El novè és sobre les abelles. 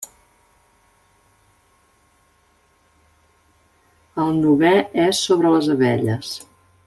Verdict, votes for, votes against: accepted, 3, 0